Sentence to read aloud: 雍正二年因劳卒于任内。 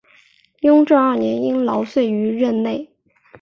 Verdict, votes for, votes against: accepted, 6, 1